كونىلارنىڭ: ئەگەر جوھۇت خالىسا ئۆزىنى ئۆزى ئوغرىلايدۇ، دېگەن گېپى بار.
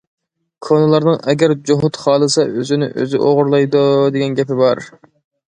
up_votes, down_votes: 2, 0